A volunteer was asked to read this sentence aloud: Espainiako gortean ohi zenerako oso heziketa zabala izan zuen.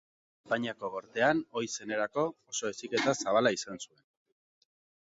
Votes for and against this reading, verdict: 0, 2, rejected